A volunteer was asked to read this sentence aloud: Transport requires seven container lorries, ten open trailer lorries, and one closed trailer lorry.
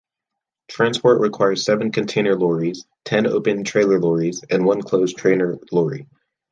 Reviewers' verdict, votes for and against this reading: rejected, 0, 2